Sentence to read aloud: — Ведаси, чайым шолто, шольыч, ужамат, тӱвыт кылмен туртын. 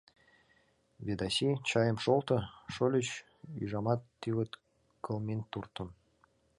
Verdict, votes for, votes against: rejected, 0, 2